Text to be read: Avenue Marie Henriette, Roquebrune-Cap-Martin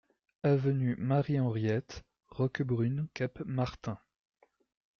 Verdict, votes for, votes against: accepted, 2, 0